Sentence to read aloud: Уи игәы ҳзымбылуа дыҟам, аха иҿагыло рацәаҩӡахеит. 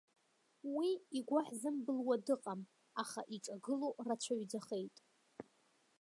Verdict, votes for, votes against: accepted, 2, 1